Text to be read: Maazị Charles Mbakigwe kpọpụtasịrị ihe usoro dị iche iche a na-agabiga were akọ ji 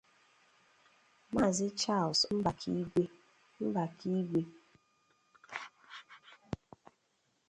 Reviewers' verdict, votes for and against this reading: rejected, 0, 2